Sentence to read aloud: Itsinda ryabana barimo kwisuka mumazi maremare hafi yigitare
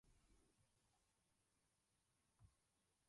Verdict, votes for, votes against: rejected, 0, 2